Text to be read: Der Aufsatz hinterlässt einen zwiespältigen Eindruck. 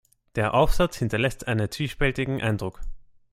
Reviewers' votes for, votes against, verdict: 2, 0, accepted